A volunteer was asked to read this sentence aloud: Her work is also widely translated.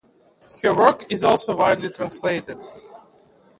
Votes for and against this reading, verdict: 0, 2, rejected